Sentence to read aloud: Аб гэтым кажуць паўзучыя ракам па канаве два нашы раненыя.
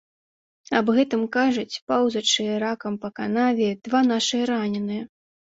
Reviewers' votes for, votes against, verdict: 1, 2, rejected